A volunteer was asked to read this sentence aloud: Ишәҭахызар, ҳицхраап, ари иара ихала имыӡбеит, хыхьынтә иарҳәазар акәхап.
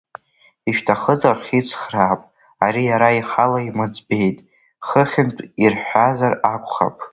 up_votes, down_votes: 0, 2